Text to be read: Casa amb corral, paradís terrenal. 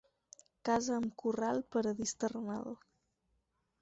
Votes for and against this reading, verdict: 4, 0, accepted